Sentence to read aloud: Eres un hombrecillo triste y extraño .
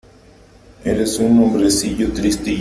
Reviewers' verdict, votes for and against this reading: rejected, 0, 3